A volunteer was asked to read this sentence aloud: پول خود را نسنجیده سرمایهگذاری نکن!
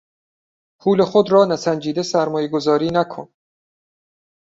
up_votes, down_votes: 2, 0